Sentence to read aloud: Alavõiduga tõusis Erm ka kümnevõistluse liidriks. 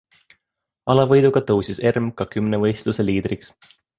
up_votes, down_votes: 2, 0